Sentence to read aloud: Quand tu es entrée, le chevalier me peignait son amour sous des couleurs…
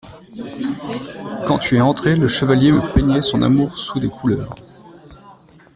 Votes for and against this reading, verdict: 0, 2, rejected